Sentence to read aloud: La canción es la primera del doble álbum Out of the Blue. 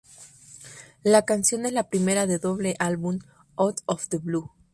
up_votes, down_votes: 0, 2